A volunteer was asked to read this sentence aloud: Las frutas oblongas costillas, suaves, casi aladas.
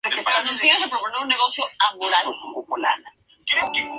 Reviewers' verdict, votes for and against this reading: rejected, 0, 2